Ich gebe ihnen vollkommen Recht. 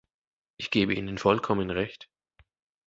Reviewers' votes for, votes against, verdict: 2, 0, accepted